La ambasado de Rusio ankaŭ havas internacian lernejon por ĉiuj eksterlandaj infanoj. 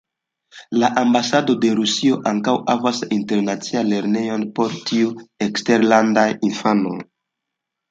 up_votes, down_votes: 2, 0